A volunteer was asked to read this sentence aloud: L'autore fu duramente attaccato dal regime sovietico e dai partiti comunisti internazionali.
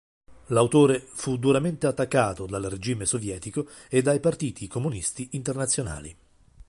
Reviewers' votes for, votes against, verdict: 3, 0, accepted